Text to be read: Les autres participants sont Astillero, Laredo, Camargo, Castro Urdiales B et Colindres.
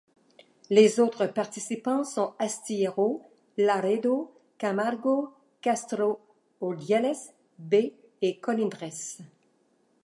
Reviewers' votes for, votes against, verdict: 2, 0, accepted